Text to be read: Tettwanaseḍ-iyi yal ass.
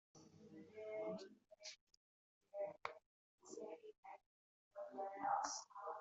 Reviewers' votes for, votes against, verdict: 1, 2, rejected